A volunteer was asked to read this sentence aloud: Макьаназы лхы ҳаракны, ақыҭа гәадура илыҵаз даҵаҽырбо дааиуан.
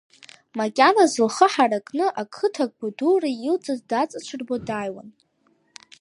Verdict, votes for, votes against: accepted, 2, 0